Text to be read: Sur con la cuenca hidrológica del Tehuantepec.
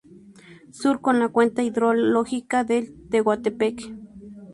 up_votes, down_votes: 2, 0